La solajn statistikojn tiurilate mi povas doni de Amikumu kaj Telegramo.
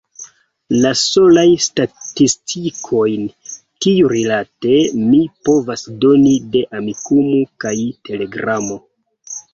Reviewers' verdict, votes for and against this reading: rejected, 1, 2